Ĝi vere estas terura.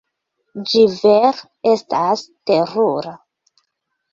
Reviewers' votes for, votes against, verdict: 2, 1, accepted